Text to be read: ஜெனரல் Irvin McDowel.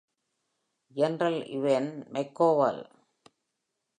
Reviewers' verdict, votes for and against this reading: rejected, 1, 2